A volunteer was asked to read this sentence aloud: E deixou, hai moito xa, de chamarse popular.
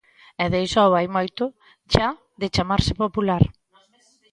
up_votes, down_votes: 1, 2